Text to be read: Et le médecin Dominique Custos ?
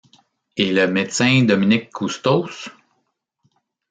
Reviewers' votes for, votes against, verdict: 2, 0, accepted